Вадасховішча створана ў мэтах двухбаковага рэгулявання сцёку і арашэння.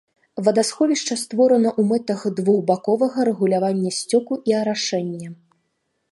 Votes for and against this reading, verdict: 3, 0, accepted